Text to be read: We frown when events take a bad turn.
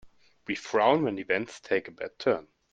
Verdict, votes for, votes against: accepted, 2, 0